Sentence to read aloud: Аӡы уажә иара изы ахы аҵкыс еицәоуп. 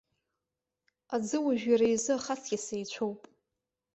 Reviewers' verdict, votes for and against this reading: accepted, 2, 1